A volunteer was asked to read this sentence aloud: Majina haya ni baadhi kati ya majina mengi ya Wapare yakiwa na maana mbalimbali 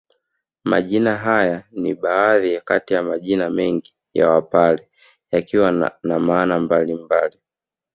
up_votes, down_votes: 1, 2